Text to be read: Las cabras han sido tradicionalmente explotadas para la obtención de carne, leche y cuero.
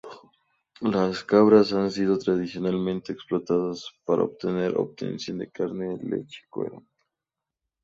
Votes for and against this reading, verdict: 2, 2, rejected